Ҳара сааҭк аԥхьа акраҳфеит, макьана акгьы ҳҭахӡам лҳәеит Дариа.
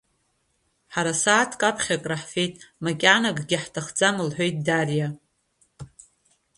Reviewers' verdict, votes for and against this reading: accepted, 2, 1